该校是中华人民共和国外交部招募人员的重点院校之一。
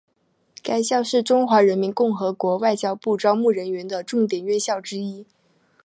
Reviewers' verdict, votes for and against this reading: accepted, 3, 0